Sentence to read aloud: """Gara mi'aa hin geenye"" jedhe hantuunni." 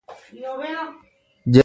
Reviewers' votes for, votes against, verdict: 0, 2, rejected